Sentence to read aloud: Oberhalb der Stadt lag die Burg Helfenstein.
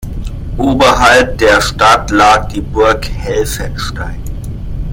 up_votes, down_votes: 2, 1